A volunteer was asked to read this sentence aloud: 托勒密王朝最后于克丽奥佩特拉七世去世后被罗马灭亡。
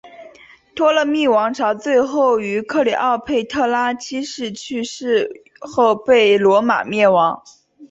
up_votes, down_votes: 2, 1